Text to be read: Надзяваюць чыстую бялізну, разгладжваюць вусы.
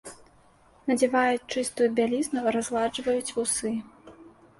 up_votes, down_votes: 2, 0